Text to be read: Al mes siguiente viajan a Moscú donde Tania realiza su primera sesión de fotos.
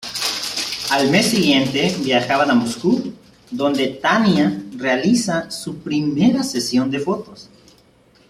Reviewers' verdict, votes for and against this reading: rejected, 0, 2